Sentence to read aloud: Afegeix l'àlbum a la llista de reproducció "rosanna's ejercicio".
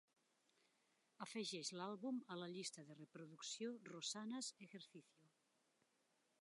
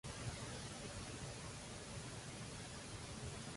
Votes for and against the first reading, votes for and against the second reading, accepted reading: 2, 0, 0, 2, first